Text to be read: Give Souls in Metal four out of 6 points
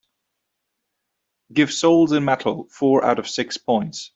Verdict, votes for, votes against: rejected, 0, 2